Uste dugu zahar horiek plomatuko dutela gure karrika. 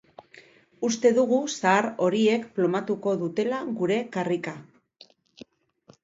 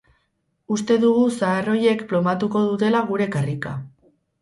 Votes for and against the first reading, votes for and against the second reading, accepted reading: 2, 0, 0, 4, first